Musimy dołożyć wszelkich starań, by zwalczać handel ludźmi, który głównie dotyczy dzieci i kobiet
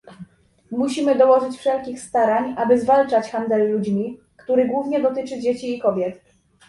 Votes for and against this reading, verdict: 0, 2, rejected